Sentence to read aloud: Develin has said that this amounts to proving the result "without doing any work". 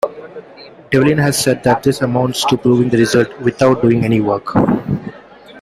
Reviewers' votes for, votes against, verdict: 2, 0, accepted